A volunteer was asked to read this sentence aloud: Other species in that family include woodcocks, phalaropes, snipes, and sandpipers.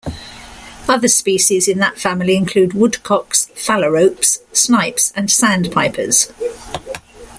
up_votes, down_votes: 2, 0